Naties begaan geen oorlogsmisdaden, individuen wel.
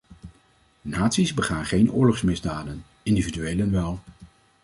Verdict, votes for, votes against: rejected, 1, 2